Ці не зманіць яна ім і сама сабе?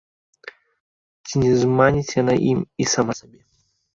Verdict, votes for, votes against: rejected, 0, 2